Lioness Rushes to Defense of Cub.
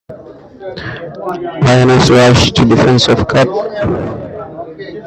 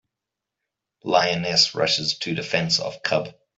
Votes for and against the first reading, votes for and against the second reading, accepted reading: 0, 2, 2, 0, second